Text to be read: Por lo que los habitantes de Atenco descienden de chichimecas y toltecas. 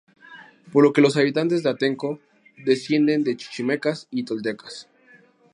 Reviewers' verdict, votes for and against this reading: accepted, 2, 0